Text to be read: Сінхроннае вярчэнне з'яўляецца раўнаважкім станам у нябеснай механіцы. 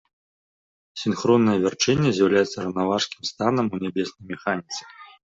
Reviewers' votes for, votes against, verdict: 2, 0, accepted